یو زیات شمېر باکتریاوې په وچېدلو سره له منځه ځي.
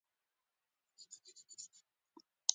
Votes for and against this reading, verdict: 0, 2, rejected